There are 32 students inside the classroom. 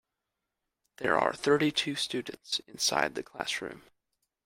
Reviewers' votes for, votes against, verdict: 0, 2, rejected